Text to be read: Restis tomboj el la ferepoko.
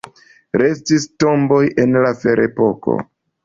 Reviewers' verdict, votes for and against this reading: accepted, 2, 1